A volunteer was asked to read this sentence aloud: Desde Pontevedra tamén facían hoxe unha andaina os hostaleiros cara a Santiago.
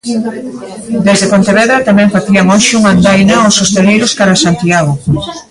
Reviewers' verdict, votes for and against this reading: rejected, 0, 2